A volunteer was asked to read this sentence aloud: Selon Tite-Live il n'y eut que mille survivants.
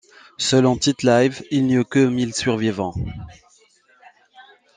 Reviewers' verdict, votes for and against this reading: accepted, 2, 1